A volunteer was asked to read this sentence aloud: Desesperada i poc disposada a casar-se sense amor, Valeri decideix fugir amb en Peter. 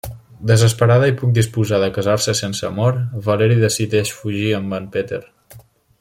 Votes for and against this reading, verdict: 0, 2, rejected